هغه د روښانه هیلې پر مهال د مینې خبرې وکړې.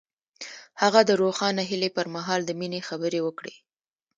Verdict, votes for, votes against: rejected, 0, 2